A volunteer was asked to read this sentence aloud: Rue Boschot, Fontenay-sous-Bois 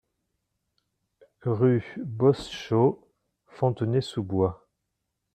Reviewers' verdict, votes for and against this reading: rejected, 1, 2